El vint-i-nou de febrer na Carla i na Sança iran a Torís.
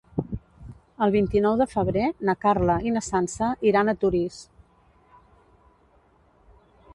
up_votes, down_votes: 2, 0